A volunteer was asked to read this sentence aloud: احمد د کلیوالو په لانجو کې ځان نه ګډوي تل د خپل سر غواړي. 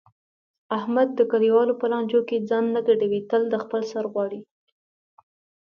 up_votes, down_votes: 3, 0